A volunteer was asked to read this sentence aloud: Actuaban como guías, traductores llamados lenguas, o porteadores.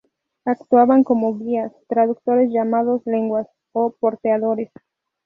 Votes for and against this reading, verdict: 2, 0, accepted